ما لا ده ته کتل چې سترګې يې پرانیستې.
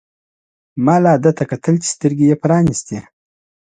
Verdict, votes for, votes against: accepted, 2, 0